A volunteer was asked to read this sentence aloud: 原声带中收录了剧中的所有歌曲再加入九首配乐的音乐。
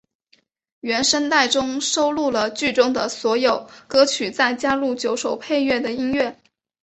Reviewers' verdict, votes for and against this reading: accepted, 2, 0